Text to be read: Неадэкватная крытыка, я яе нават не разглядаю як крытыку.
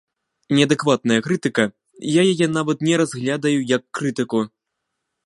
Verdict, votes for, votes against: rejected, 1, 2